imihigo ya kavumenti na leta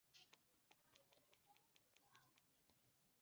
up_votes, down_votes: 1, 2